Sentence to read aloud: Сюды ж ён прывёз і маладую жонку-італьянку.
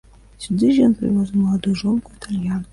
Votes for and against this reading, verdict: 1, 3, rejected